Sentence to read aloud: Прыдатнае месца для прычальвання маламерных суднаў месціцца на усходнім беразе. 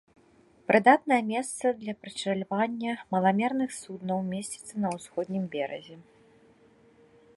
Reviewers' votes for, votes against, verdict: 0, 2, rejected